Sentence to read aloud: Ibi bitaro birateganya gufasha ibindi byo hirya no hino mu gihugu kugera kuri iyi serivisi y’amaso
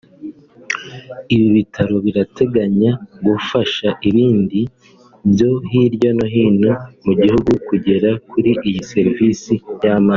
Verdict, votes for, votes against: accepted, 2, 0